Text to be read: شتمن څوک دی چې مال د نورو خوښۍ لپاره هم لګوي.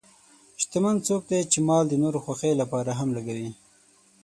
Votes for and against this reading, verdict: 6, 0, accepted